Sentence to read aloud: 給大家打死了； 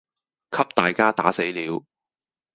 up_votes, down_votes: 0, 2